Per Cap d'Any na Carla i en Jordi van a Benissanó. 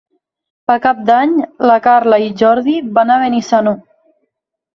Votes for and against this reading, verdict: 0, 3, rejected